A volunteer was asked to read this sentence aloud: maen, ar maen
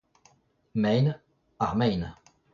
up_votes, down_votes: 0, 2